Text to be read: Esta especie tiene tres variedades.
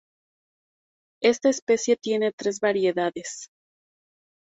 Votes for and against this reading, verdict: 2, 0, accepted